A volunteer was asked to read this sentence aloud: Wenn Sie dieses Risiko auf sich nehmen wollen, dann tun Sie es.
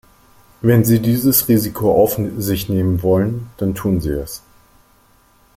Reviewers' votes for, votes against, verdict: 1, 2, rejected